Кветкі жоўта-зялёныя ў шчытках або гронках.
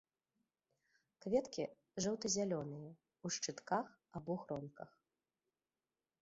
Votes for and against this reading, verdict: 3, 0, accepted